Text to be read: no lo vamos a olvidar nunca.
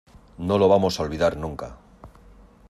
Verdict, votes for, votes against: accepted, 2, 0